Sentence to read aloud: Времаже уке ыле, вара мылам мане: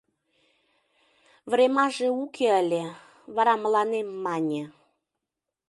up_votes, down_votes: 0, 2